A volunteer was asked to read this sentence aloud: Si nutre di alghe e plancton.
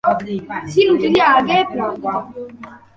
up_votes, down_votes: 0, 2